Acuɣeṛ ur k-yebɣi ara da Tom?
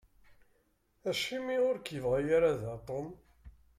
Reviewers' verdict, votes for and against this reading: rejected, 1, 2